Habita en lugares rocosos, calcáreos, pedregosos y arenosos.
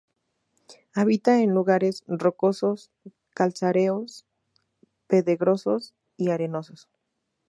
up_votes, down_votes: 0, 4